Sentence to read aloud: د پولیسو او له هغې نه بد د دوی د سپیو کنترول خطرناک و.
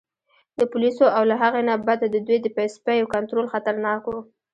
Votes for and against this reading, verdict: 0, 2, rejected